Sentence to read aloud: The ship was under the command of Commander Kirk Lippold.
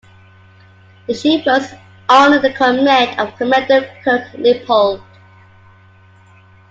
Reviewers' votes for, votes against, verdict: 1, 2, rejected